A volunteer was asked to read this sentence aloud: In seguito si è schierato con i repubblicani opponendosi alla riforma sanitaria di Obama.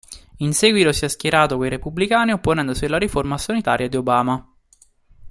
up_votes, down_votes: 1, 2